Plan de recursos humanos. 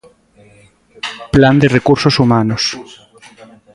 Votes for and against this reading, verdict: 1, 2, rejected